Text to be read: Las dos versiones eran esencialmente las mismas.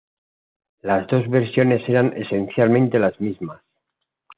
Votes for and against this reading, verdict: 2, 0, accepted